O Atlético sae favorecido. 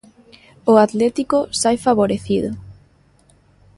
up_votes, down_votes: 2, 0